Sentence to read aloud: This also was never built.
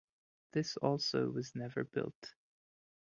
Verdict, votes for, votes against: rejected, 0, 2